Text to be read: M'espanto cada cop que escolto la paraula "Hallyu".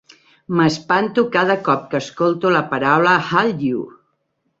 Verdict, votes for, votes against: rejected, 1, 2